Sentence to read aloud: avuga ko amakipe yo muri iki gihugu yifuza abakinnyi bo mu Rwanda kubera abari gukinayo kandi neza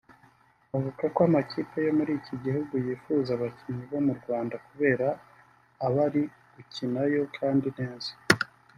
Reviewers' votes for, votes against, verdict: 1, 2, rejected